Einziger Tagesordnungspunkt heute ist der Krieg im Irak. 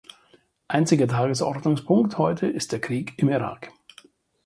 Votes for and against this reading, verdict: 4, 0, accepted